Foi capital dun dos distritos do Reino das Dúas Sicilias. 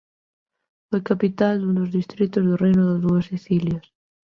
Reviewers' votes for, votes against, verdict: 1, 2, rejected